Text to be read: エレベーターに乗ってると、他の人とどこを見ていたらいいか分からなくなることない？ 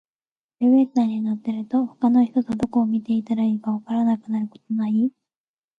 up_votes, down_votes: 2, 0